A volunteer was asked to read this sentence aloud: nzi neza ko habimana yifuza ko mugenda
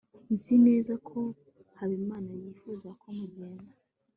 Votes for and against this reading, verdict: 2, 0, accepted